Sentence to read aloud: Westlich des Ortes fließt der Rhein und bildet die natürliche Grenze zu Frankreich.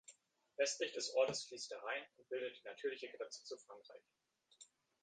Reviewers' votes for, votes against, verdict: 1, 3, rejected